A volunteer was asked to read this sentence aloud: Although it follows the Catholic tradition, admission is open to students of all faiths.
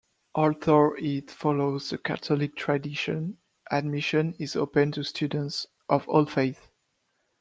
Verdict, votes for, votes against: accepted, 2, 1